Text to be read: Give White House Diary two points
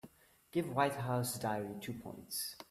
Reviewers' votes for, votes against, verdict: 2, 0, accepted